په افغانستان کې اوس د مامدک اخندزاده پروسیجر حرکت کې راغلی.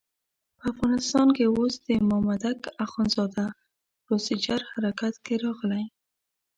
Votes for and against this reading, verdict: 2, 0, accepted